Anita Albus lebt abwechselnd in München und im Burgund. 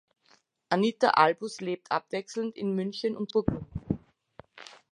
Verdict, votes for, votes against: rejected, 0, 2